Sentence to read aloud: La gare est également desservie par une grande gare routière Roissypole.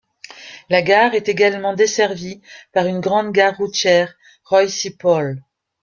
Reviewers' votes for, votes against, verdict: 0, 2, rejected